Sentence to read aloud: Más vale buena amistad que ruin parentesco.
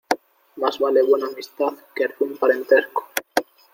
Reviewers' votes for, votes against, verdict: 2, 0, accepted